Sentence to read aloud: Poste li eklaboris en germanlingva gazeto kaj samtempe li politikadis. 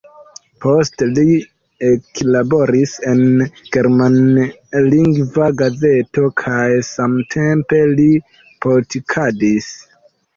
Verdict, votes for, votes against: accepted, 2, 0